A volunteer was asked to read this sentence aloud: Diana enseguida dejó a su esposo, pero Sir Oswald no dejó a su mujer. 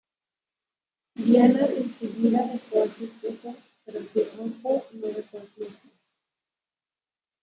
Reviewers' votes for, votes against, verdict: 1, 2, rejected